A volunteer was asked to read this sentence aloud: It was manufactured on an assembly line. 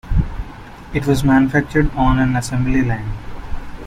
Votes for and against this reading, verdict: 0, 2, rejected